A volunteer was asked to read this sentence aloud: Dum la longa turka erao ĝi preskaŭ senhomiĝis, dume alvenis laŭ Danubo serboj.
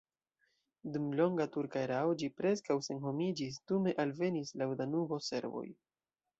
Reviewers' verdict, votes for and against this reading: rejected, 0, 2